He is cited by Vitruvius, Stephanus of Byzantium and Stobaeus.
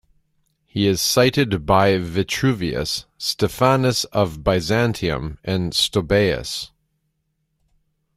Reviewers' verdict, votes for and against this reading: accepted, 2, 0